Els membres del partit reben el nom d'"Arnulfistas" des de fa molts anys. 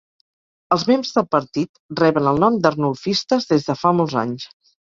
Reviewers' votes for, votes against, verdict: 2, 4, rejected